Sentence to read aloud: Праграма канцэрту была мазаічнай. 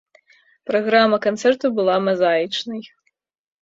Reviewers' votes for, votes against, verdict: 1, 2, rejected